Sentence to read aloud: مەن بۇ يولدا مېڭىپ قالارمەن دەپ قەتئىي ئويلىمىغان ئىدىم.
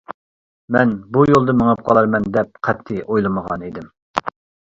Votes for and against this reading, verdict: 2, 0, accepted